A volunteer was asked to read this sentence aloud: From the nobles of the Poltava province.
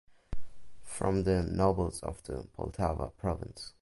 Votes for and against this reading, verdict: 2, 1, accepted